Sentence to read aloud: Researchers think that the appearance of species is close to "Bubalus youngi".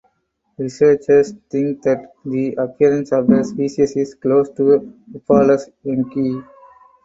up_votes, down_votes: 0, 4